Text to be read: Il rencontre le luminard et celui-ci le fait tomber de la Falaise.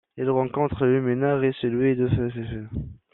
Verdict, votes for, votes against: rejected, 0, 2